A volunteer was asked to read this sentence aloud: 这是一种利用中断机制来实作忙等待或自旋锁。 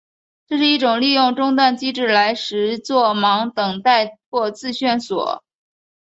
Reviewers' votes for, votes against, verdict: 3, 0, accepted